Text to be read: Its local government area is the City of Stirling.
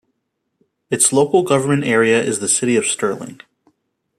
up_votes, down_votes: 2, 0